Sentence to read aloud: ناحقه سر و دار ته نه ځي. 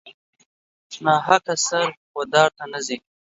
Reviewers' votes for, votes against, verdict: 2, 0, accepted